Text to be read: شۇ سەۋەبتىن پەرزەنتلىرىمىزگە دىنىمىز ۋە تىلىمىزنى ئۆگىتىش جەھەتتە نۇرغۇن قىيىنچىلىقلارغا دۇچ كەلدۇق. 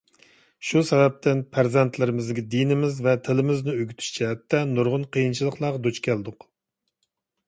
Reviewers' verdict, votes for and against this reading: accepted, 2, 0